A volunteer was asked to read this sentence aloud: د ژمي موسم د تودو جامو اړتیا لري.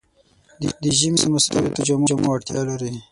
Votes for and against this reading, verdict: 0, 6, rejected